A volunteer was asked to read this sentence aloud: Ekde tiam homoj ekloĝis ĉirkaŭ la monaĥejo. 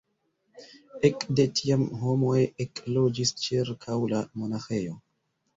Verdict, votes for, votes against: rejected, 1, 3